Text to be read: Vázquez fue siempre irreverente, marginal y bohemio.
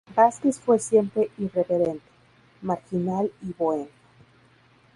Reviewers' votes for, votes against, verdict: 0, 2, rejected